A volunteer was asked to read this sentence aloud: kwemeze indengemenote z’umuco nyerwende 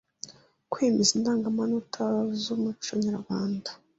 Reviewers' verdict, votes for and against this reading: rejected, 1, 2